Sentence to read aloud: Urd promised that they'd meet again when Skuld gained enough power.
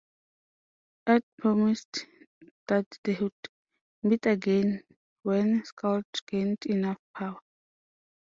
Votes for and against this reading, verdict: 0, 2, rejected